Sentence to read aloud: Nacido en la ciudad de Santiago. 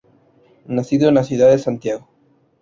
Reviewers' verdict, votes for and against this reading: rejected, 0, 2